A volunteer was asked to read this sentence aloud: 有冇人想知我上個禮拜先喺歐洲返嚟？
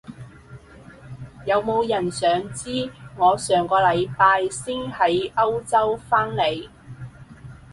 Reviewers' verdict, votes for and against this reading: accepted, 2, 0